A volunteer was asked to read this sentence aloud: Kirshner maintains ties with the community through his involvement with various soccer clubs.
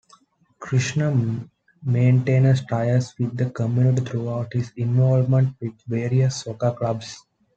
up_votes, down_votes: 2, 0